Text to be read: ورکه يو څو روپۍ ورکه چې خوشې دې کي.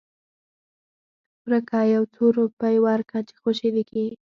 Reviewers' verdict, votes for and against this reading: rejected, 0, 4